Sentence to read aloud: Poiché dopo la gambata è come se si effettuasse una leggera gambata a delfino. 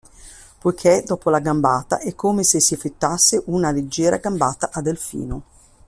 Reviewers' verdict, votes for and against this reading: rejected, 0, 2